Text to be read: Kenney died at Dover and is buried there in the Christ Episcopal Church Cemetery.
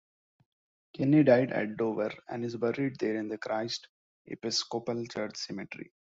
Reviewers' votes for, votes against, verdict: 2, 1, accepted